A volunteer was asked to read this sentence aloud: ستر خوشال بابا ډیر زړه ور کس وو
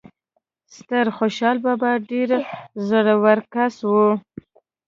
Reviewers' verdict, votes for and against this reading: accepted, 2, 0